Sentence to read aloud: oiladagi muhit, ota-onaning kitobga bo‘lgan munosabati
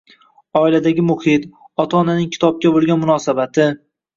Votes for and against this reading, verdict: 1, 2, rejected